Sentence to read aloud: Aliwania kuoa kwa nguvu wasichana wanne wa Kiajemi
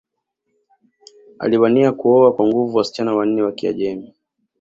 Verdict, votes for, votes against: rejected, 0, 2